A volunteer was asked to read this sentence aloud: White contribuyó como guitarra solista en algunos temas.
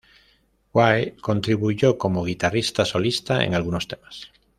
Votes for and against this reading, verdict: 1, 2, rejected